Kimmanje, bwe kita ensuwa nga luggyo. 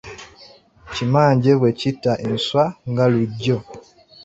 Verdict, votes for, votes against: rejected, 0, 2